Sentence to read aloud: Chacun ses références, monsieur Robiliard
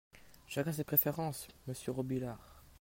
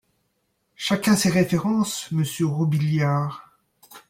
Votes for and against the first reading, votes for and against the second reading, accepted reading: 0, 2, 2, 0, second